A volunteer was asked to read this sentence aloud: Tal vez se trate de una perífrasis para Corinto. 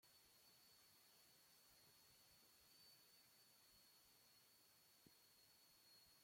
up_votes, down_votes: 0, 2